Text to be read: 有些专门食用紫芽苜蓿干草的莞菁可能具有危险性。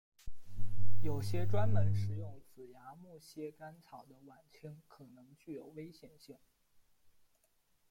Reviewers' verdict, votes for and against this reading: rejected, 1, 2